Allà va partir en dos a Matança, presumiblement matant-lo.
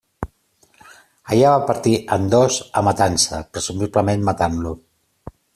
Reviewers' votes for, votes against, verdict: 2, 0, accepted